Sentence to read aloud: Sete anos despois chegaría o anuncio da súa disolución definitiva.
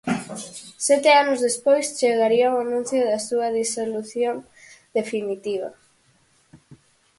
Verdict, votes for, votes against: accepted, 4, 0